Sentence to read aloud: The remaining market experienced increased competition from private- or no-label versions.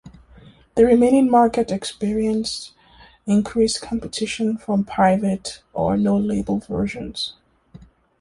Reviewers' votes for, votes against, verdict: 2, 1, accepted